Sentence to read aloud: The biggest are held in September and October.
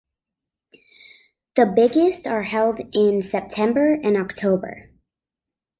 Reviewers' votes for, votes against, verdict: 2, 0, accepted